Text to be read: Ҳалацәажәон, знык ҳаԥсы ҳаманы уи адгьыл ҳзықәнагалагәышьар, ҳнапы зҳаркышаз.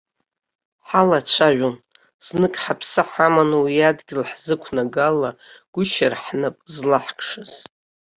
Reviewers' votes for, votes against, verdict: 1, 2, rejected